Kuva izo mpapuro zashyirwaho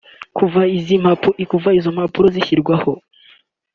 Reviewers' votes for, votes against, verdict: 0, 2, rejected